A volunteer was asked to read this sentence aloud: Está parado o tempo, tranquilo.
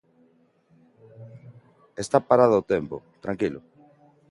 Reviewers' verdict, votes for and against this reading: accepted, 2, 0